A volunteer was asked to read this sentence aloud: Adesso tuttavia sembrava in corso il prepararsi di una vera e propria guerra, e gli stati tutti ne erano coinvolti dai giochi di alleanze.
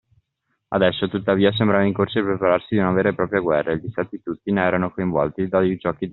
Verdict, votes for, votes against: rejected, 0, 2